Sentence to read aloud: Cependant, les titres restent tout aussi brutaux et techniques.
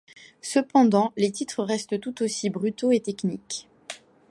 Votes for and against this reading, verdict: 1, 2, rejected